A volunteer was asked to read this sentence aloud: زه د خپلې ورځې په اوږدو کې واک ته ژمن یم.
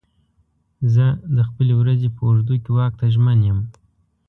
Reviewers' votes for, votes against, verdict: 2, 0, accepted